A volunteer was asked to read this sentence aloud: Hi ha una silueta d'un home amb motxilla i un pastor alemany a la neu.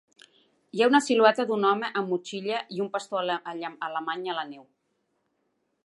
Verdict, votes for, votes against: rejected, 1, 2